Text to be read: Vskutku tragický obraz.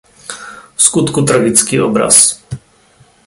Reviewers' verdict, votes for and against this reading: accepted, 2, 0